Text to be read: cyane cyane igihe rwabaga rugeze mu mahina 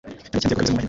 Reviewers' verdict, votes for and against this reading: rejected, 1, 2